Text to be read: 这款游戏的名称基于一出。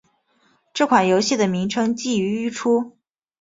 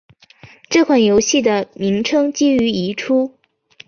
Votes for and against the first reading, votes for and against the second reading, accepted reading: 2, 0, 0, 2, first